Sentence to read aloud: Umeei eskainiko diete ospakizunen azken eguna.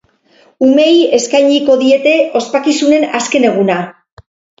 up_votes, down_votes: 4, 0